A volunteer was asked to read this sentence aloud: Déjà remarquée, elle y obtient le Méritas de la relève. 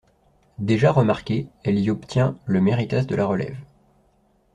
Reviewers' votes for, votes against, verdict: 2, 0, accepted